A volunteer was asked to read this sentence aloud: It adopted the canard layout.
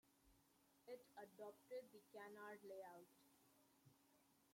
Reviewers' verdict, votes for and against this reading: rejected, 1, 2